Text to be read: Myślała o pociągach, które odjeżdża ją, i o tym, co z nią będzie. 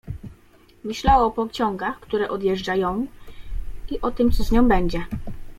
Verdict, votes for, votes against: accepted, 2, 0